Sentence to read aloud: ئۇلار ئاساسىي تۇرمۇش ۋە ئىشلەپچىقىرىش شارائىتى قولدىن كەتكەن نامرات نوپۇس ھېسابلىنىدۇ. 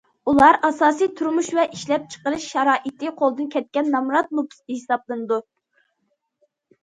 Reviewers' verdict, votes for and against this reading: accepted, 2, 0